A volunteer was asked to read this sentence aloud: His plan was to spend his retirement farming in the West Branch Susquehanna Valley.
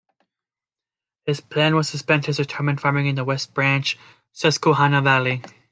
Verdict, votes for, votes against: accepted, 2, 0